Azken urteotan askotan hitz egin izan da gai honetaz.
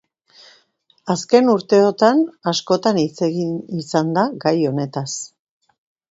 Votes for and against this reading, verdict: 2, 0, accepted